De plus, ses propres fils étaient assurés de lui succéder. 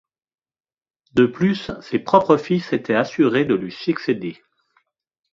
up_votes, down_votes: 2, 0